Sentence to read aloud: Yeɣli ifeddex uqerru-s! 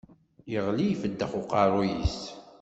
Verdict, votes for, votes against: accepted, 2, 0